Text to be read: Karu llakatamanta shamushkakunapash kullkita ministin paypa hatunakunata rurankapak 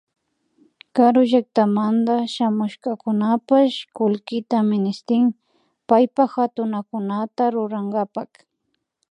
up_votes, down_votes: 2, 0